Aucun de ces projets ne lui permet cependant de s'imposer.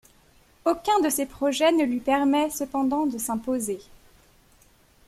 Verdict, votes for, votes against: accepted, 2, 0